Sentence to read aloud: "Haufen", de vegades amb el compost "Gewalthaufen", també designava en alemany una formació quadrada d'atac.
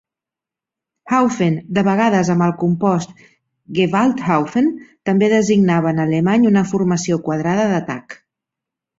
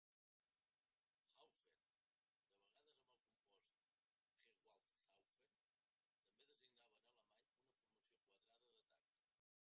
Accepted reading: first